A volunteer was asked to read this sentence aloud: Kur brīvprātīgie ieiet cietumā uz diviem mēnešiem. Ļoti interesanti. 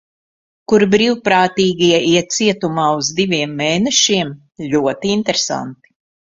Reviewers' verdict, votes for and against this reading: rejected, 1, 2